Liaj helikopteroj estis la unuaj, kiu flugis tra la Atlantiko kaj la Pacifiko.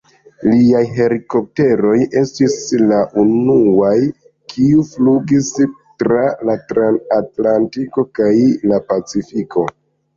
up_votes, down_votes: 0, 2